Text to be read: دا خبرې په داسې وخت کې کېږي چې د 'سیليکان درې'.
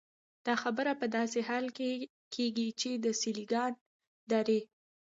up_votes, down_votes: 0, 2